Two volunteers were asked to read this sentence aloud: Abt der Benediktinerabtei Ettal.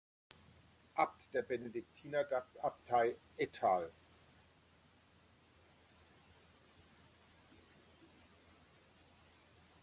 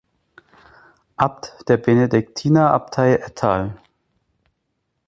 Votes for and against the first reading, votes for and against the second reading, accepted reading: 1, 2, 3, 0, second